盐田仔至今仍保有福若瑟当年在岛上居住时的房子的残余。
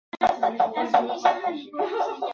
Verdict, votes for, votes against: rejected, 0, 6